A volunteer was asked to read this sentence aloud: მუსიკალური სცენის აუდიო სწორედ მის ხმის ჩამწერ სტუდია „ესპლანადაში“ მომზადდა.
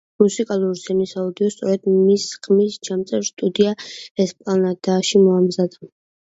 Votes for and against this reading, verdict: 2, 0, accepted